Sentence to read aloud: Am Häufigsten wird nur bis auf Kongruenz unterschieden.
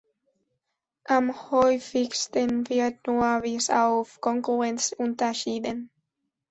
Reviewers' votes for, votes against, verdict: 2, 0, accepted